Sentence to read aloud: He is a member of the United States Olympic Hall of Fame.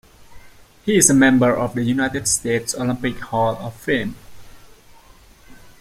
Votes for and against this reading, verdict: 2, 0, accepted